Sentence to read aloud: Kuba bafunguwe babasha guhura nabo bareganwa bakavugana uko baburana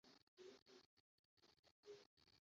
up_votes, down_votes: 0, 2